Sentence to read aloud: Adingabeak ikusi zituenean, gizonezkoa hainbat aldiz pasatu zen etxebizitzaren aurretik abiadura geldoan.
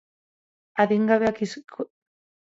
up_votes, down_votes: 2, 4